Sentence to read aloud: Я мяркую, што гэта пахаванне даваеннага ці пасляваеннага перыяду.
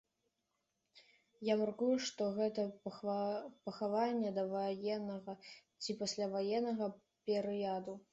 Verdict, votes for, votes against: rejected, 1, 3